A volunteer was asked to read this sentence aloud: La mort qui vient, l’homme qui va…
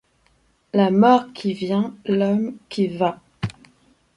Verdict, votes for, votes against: accepted, 2, 0